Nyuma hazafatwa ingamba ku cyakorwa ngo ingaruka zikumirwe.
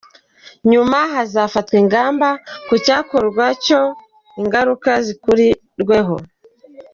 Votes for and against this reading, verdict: 0, 2, rejected